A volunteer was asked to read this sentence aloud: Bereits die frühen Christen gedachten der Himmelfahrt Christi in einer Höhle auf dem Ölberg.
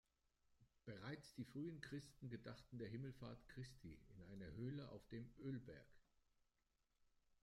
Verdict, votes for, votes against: rejected, 1, 2